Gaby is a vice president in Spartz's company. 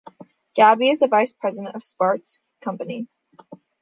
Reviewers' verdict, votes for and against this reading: rejected, 1, 2